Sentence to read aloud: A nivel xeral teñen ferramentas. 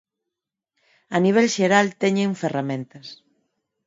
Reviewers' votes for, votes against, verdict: 4, 0, accepted